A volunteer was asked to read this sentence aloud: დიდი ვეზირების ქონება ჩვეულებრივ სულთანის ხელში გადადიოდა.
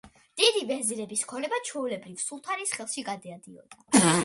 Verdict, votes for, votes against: rejected, 0, 2